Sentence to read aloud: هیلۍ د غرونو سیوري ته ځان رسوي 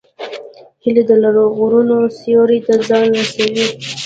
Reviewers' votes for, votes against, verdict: 1, 2, rejected